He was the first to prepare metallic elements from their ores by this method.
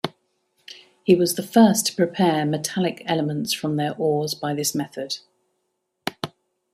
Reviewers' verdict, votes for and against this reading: accepted, 2, 0